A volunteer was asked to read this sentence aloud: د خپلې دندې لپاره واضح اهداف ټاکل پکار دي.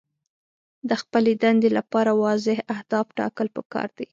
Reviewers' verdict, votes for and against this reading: accepted, 3, 0